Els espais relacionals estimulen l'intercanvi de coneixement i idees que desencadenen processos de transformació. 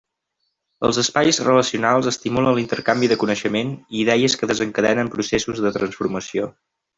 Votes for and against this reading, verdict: 1, 2, rejected